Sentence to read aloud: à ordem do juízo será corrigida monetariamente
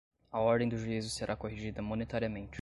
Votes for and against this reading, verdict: 2, 0, accepted